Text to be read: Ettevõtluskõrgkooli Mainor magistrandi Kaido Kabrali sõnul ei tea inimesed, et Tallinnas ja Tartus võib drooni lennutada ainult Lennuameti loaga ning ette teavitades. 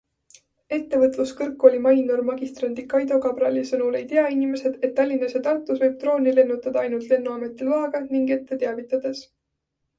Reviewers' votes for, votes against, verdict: 2, 0, accepted